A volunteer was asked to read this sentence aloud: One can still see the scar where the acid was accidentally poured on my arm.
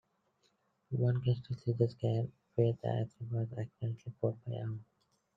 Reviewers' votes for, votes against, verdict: 0, 2, rejected